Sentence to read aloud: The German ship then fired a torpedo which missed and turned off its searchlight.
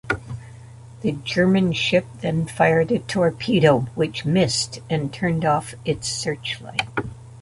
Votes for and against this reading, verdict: 0, 2, rejected